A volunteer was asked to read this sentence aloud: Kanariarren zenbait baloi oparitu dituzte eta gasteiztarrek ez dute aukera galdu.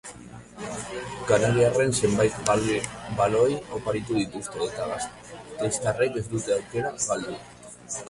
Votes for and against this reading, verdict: 1, 2, rejected